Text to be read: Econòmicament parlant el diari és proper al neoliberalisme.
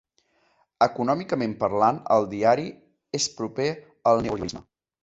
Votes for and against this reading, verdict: 0, 2, rejected